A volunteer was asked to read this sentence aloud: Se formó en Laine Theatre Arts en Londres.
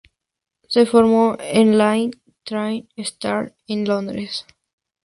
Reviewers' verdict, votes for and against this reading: accepted, 4, 0